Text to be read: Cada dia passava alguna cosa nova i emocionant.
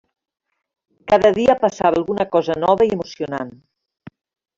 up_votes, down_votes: 1, 2